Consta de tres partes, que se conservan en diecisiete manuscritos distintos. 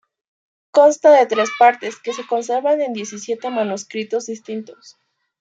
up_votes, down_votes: 2, 0